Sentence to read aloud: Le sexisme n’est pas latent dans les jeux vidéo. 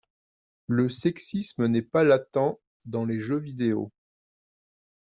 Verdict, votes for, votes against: accepted, 2, 0